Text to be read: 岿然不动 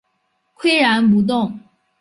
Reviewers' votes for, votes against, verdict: 2, 0, accepted